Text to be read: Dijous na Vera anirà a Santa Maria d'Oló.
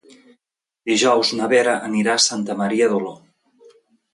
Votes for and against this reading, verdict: 2, 0, accepted